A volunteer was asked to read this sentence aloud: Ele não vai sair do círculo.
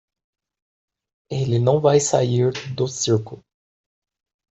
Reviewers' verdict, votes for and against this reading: accepted, 2, 0